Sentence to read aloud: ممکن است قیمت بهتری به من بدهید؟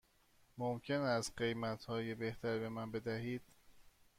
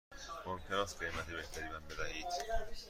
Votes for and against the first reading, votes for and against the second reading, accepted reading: 1, 2, 2, 0, second